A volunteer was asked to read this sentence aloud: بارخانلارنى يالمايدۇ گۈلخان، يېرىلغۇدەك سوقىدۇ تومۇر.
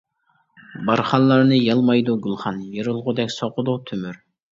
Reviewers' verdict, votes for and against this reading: rejected, 0, 2